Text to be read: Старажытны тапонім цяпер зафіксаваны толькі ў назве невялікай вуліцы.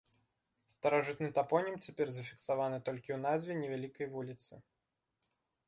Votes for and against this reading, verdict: 2, 0, accepted